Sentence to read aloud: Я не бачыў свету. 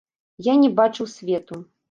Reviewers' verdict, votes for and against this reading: accepted, 2, 0